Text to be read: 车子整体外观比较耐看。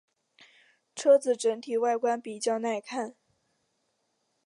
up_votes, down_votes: 2, 1